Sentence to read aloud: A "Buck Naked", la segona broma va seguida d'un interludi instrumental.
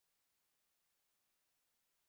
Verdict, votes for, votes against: rejected, 0, 3